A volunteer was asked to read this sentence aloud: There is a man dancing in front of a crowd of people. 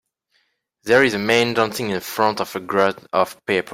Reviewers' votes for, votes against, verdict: 2, 1, accepted